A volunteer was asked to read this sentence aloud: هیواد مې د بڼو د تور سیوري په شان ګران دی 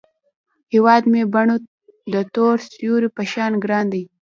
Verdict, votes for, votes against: rejected, 1, 2